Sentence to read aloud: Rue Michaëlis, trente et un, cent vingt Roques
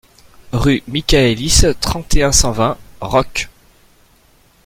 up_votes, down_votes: 2, 0